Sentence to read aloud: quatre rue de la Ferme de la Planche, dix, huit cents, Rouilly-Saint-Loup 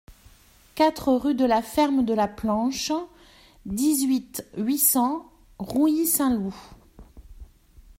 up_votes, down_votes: 0, 2